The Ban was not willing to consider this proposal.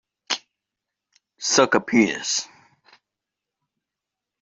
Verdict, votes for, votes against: rejected, 1, 2